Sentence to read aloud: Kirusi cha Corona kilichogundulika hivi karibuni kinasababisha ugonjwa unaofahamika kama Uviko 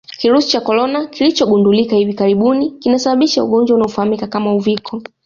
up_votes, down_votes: 2, 0